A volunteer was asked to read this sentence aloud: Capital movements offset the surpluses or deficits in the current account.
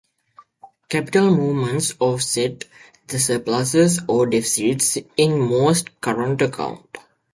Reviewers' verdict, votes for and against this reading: rejected, 0, 2